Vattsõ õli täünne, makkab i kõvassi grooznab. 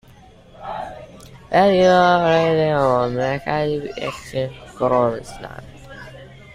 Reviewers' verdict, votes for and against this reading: rejected, 0, 2